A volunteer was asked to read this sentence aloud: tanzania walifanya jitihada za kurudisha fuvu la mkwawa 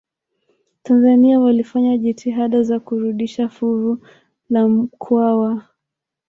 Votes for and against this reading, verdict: 0, 2, rejected